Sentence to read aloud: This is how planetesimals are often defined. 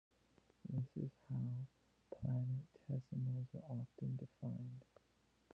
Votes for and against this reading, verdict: 1, 2, rejected